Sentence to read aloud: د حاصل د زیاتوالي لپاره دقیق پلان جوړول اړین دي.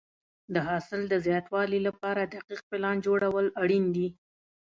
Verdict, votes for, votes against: accepted, 2, 0